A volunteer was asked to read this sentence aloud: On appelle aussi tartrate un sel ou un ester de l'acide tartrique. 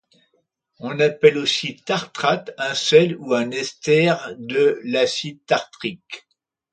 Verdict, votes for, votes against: accepted, 2, 0